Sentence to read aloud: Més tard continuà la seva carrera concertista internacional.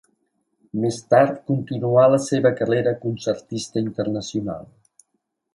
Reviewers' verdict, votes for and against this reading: accepted, 2, 0